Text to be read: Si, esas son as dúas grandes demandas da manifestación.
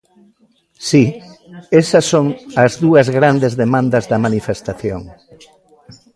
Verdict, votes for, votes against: accepted, 2, 0